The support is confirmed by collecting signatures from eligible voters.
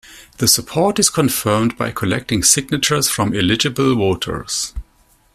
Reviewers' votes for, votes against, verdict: 2, 0, accepted